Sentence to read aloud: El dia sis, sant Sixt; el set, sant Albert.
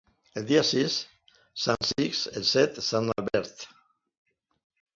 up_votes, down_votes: 2, 1